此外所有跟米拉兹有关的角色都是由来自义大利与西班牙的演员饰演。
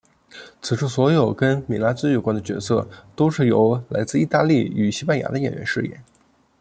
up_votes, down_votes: 1, 2